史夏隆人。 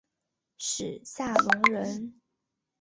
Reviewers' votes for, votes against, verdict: 2, 0, accepted